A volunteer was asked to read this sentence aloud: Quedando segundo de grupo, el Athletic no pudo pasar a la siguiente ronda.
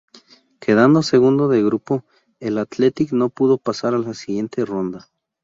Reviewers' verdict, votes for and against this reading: accepted, 4, 0